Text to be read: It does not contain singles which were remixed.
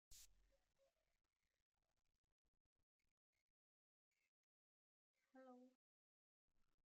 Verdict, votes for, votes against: rejected, 0, 3